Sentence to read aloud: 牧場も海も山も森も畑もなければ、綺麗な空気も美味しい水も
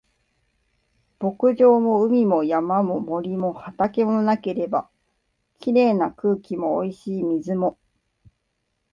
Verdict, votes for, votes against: accepted, 5, 0